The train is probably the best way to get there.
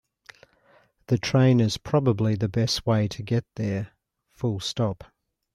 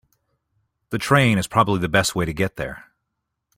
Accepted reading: second